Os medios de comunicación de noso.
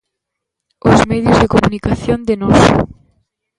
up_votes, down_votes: 2, 1